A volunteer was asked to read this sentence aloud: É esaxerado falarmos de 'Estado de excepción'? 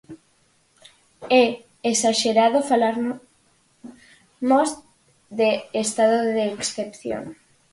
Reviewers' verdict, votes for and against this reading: rejected, 0, 4